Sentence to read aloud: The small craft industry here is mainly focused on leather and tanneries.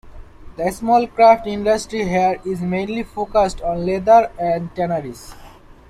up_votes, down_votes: 2, 0